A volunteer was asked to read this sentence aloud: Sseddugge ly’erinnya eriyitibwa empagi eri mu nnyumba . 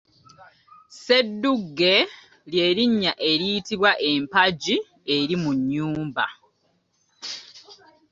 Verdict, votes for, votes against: accepted, 2, 0